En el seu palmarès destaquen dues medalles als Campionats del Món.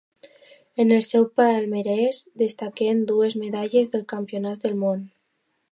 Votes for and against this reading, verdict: 1, 2, rejected